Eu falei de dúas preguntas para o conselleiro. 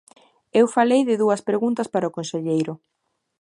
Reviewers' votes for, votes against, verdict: 2, 0, accepted